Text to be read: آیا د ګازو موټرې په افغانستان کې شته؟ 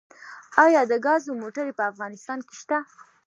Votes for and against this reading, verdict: 2, 0, accepted